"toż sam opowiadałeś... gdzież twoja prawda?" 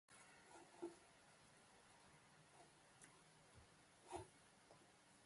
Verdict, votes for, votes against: rejected, 0, 2